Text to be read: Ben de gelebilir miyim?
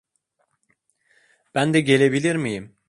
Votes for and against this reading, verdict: 2, 0, accepted